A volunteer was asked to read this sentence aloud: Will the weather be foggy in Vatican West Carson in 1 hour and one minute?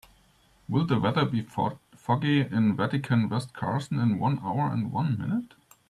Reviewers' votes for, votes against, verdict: 0, 2, rejected